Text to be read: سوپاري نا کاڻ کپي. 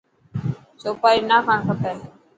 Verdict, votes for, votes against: accepted, 4, 0